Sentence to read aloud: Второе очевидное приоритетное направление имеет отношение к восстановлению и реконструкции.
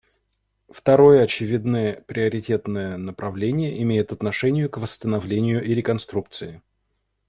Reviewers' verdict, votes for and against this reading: accepted, 2, 0